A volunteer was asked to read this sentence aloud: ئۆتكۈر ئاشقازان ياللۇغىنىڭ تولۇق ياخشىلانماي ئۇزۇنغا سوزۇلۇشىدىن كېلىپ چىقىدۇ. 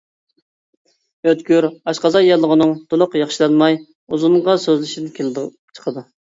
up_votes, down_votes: 0, 2